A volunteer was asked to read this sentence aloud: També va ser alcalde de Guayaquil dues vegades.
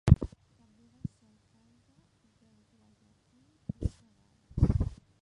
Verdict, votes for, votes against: rejected, 0, 2